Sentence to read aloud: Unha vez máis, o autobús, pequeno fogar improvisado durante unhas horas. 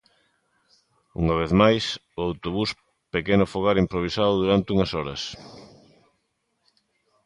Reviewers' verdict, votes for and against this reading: accepted, 2, 0